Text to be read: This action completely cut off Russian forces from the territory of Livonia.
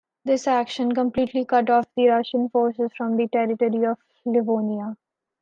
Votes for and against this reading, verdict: 0, 2, rejected